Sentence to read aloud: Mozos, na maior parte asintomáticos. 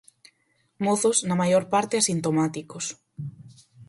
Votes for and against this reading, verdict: 4, 0, accepted